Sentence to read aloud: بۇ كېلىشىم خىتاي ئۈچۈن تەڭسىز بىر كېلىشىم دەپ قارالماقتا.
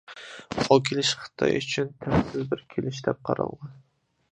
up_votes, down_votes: 0, 2